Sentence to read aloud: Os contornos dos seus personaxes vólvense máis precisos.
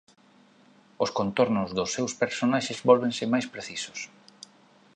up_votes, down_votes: 2, 0